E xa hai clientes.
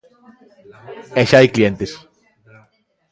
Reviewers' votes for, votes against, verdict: 1, 2, rejected